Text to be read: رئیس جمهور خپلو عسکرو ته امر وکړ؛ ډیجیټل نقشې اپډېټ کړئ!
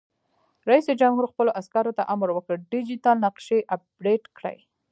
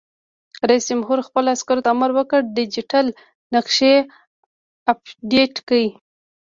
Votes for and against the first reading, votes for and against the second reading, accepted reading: 1, 2, 2, 1, second